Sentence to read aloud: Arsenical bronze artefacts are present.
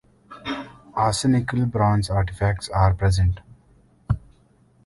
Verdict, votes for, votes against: rejected, 1, 2